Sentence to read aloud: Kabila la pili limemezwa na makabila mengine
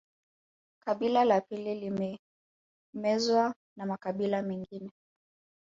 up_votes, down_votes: 1, 2